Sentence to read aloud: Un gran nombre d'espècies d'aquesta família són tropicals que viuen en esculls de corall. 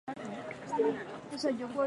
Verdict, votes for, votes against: rejected, 0, 2